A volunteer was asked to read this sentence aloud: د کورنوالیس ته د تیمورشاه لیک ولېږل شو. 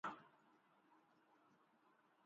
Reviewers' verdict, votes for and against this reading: rejected, 0, 2